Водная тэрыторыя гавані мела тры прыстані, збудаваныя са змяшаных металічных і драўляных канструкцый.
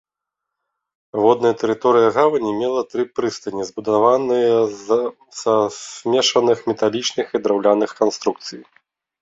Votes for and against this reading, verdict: 0, 2, rejected